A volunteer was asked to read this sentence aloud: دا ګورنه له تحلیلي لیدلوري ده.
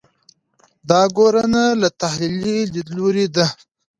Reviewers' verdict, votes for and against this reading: accepted, 2, 0